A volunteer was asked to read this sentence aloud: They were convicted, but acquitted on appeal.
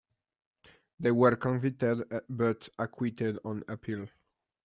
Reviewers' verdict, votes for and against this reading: accepted, 2, 0